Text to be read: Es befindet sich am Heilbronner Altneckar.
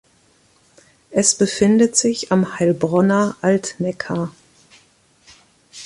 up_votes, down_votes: 1, 2